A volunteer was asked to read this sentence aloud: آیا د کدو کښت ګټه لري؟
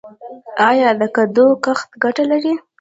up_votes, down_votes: 2, 0